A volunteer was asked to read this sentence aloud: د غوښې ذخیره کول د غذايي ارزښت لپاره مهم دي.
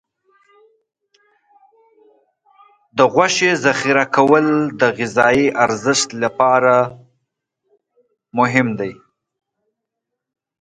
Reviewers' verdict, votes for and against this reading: accepted, 2, 1